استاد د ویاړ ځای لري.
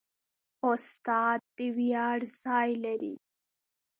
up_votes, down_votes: 2, 0